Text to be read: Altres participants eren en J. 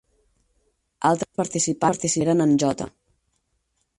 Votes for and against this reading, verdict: 2, 8, rejected